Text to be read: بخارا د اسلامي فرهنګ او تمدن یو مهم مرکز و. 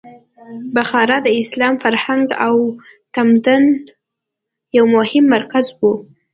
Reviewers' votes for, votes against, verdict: 2, 0, accepted